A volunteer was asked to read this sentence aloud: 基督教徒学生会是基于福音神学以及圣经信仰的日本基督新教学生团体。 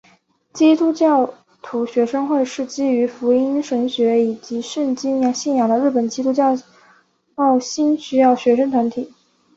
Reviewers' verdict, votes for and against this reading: rejected, 0, 2